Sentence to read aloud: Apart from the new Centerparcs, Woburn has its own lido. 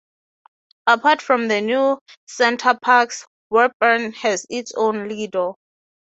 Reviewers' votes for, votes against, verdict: 3, 3, rejected